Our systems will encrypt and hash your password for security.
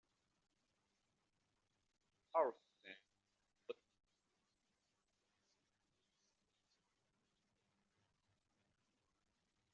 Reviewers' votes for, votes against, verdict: 0, 2, rejected